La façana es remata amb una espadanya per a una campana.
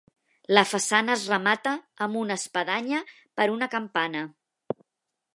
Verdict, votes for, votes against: rejected, 0, 2